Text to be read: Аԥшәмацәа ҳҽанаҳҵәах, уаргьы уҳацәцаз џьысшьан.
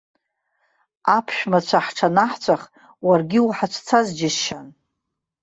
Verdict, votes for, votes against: accepted, 2, 0